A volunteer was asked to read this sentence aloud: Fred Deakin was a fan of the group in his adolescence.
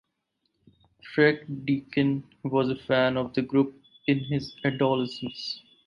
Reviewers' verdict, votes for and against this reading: accepted, 4, 0